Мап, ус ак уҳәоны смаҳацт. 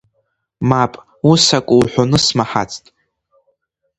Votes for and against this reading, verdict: 2, 0, accepted